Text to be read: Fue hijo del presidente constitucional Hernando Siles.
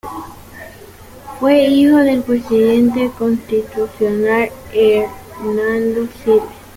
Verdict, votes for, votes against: rejected, 1, 2